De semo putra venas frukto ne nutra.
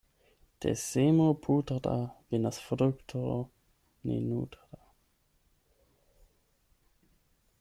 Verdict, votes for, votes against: rejected, 0, 8